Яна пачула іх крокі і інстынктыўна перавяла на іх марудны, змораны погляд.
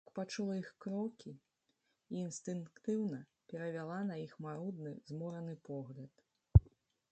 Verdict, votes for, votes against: rejected, 1, 2